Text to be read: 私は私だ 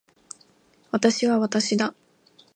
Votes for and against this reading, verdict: 2, 0, accepted